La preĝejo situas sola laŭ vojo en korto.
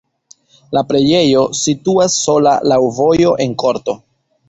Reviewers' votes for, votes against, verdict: 1, 2, rejected